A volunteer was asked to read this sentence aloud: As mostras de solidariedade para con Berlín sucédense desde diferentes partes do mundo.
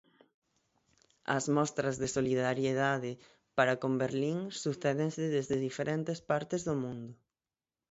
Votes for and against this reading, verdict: 6, 0, accepted